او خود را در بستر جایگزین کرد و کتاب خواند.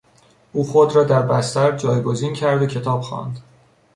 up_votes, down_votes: 2, 0